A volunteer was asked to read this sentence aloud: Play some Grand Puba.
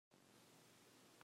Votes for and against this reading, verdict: 0, 2, rejected